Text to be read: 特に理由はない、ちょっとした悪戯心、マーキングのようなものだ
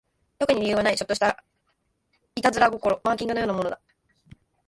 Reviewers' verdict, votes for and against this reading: rejected, 0, 2